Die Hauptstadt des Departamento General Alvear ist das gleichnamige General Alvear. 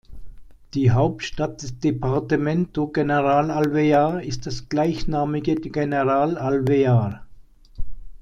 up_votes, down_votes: 1, 2